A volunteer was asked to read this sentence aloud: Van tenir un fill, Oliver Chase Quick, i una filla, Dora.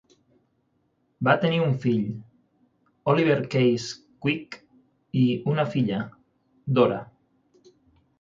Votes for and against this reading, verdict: 3, 6, rejected